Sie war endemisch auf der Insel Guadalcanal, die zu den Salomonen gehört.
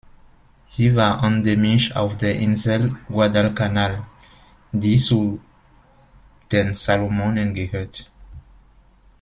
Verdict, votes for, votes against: rejected, 0, 2